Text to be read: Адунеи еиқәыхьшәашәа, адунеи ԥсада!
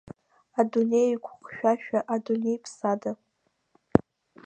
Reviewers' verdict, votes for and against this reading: rejected, 0, 2